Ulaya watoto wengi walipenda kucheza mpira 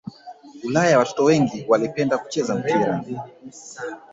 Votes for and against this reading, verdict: 0, 2, rejected